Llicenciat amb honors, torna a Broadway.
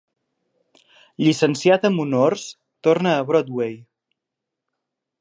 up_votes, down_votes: 2, 0